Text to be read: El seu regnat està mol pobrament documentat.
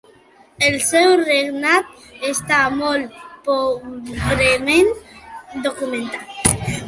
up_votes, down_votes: 0, 3